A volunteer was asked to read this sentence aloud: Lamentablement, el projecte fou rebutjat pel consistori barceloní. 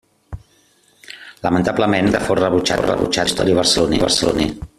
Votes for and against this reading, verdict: 0, 2, rejected